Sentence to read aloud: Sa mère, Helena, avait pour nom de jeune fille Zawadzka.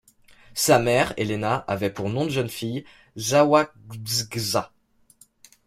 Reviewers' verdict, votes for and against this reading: rejected, 0, 2